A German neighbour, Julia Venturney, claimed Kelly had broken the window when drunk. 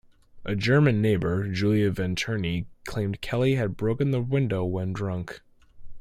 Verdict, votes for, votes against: accepted, 2, 0